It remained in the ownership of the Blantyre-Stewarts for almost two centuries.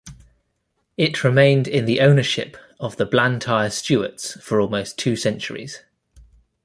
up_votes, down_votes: 2, 0